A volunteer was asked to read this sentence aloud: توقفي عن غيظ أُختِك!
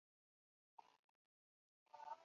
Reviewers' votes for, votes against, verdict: 0, 2, rejected